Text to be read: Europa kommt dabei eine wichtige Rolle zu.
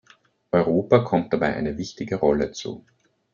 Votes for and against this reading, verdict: 2, 0, accepted